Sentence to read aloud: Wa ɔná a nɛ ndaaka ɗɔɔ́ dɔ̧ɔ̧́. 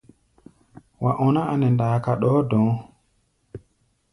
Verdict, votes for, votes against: accepted, 2, 0